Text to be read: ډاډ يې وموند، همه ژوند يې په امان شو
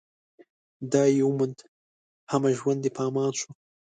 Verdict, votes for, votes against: accepted, 2, 0